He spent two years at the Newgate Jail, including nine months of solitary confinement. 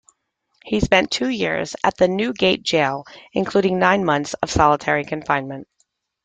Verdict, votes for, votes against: accepted, 2, 0